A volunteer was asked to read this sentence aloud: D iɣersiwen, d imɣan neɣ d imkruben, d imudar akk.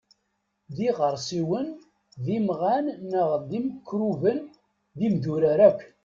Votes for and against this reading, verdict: 1, 2, rejected